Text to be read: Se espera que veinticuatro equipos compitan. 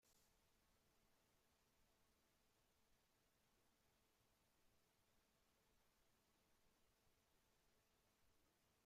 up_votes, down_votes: 0, 2